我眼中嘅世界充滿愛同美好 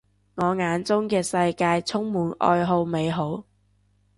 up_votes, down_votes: 0, 2